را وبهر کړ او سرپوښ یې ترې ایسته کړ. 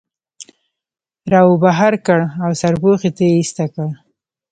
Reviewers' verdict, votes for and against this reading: rejected, 0, 2